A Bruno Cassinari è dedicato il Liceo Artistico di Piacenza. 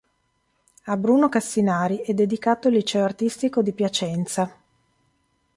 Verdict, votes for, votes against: accepted, 2, 0